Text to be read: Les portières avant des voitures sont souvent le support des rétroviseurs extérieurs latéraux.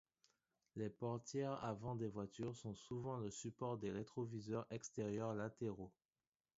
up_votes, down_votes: 2, 1